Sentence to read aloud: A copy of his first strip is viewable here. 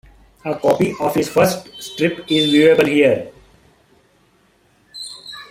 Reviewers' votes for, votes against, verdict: 2, 1, accepted